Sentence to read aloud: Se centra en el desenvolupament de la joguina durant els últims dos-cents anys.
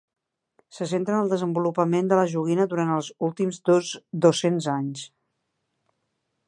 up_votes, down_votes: 0, 2